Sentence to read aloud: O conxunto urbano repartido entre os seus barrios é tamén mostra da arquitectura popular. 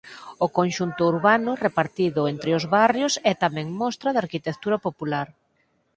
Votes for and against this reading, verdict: 0, 4, rejected